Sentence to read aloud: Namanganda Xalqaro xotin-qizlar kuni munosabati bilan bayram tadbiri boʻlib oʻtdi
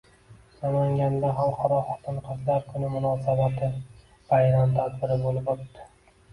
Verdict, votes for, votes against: rejected, 0, 2